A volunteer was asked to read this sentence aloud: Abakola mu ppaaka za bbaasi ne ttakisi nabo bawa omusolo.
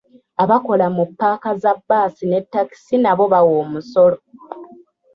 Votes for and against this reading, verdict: 2, 0, accepted